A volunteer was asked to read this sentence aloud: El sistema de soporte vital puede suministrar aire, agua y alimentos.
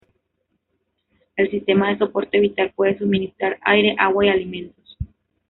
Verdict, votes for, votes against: rejected, 1, 2